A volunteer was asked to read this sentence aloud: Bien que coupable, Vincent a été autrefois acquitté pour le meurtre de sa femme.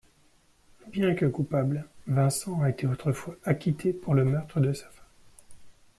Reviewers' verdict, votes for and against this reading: rejected, 0, 3